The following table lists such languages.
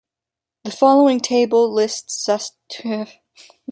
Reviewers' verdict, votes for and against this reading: rejected, 0, 2